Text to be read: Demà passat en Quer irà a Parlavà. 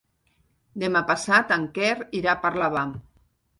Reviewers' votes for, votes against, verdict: 2, 0, accepted